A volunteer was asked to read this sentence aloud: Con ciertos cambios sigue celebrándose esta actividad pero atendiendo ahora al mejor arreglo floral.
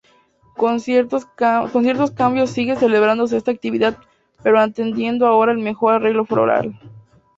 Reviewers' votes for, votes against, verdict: 0, 2, rejected